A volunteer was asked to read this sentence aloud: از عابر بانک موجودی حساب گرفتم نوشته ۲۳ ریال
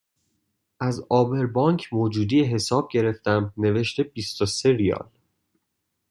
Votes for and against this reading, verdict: 0, 2, rejected